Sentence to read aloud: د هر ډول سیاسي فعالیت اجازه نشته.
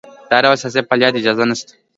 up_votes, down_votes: 2, 1